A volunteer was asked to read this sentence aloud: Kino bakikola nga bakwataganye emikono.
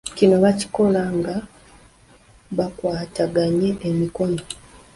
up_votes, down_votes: 0, 2